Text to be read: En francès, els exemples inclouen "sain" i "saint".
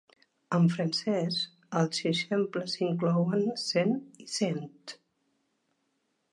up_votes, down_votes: 2, 0